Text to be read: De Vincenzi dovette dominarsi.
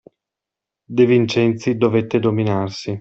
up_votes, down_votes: 2, 0